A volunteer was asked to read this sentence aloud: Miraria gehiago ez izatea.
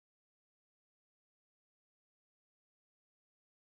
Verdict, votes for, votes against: rejected, 0, 2